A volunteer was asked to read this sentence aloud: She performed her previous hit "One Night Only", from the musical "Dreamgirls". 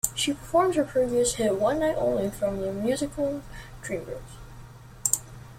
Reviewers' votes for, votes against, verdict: 2, 0, accepted